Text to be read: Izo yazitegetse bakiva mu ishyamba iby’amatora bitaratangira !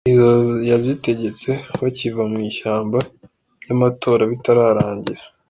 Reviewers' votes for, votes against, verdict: 0, 2, rejected